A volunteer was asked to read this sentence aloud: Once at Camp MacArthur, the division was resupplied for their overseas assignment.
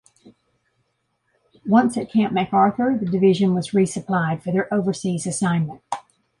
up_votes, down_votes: 2, 0